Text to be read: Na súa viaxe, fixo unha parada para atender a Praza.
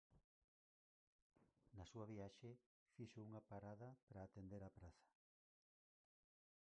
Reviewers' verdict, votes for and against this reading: rejected, 2, 4